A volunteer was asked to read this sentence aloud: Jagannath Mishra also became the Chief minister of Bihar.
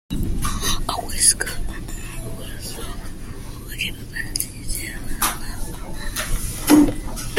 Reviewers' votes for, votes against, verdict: 0, 2, rejected